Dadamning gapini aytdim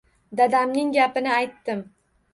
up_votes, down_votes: 1, 2